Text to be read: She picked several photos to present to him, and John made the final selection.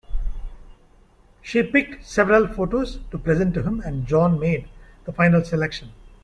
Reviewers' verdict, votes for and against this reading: accepted, 2, 0